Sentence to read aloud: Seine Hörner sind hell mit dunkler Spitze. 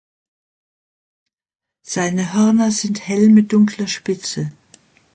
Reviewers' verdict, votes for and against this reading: accepted, 2, 0